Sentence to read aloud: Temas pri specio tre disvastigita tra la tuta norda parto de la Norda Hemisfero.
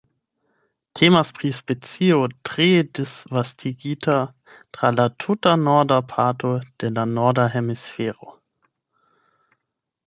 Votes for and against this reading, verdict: 0, 8, rejected